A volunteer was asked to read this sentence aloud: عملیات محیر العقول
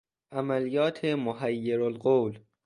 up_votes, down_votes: 1, 3